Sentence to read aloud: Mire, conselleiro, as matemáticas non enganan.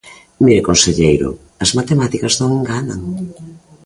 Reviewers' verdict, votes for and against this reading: accepted, 2, 0